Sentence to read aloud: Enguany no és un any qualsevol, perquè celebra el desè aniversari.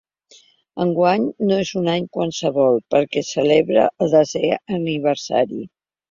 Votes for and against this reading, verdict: 2, 0, accepted